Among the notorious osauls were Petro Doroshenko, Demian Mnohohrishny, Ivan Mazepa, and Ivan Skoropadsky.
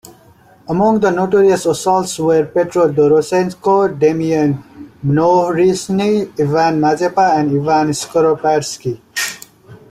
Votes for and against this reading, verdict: 2, 1, accepted